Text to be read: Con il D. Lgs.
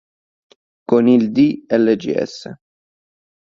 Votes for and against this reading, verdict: 2, 0, accepted